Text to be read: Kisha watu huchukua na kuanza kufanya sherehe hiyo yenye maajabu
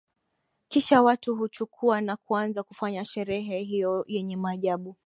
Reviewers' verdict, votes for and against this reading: accepted, 2, 0